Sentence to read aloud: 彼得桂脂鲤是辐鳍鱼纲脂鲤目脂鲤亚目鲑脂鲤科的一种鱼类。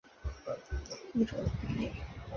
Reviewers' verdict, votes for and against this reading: rejected, 0, 2